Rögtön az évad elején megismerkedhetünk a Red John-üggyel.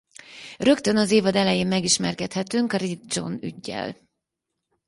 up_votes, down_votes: 2, 6